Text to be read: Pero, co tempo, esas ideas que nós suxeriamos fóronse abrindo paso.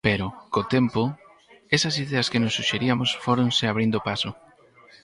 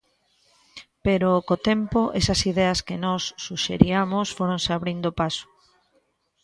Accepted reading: second